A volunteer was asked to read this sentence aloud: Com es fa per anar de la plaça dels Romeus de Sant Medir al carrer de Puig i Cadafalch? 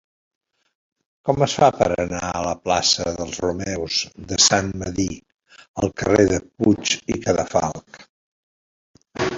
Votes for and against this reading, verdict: 1, 2, rejected